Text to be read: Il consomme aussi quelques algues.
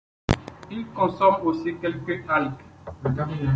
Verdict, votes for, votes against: rejected, 0, 2